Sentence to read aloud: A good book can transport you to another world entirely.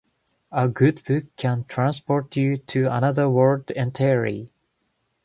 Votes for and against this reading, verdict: 2, 1, accepted